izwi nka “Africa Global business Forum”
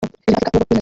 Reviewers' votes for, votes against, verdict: 0, 2, rejected